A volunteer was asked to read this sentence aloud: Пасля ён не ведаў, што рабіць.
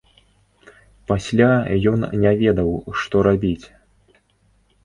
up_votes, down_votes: 2, 0